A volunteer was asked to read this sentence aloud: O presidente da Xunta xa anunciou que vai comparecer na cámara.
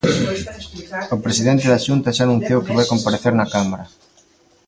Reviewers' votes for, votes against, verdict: 0, 2, rejected